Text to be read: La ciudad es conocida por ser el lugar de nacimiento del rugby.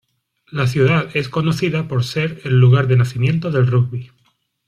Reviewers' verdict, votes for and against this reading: accepted, 2, 0